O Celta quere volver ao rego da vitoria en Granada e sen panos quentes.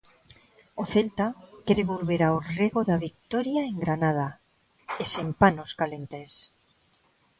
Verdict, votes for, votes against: rejected, 0, 2